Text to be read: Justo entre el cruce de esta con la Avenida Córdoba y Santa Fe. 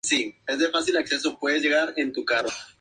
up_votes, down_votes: 0, 4